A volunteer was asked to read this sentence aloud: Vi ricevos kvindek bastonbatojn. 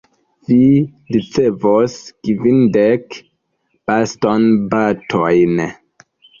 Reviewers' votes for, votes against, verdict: 2, 1, accepted